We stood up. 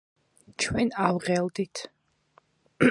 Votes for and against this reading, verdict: 0, 2, rejected